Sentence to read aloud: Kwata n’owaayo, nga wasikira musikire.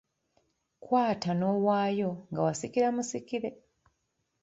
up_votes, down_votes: 2, 0